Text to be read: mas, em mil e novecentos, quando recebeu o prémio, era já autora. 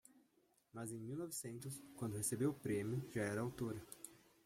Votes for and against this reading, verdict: 0, 2, rejected